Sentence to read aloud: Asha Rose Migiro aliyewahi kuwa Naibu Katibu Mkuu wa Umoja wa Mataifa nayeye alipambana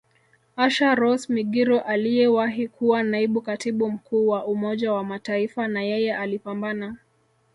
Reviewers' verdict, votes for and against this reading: rejected, 1, 2